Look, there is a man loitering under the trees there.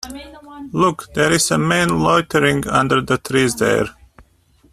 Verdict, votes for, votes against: rejected, 0, 2